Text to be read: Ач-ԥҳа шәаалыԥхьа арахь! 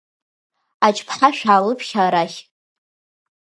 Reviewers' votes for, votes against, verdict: 2, 0, accepted